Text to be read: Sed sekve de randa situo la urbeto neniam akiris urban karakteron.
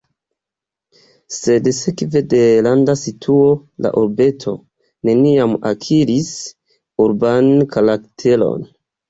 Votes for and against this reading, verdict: 1, 2, rejected